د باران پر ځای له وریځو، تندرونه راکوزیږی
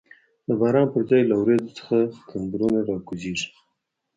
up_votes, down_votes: 1, 2